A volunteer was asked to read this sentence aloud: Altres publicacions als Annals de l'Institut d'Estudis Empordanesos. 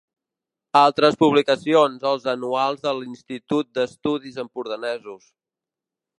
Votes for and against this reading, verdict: 0, 2, rejected